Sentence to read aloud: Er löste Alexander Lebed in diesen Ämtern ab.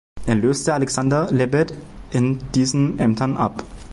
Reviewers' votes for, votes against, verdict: 2, 0, accepted